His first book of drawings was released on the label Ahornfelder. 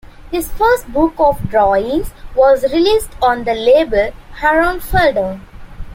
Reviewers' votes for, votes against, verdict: 1, 2, rejected